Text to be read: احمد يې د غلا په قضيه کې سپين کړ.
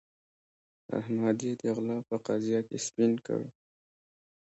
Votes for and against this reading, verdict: 2, 0, accepted